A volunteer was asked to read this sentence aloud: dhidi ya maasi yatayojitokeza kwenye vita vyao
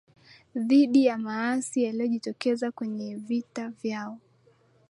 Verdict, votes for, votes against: rejected, 0, 2